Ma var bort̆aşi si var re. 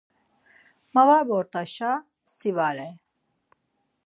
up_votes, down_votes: 2, 4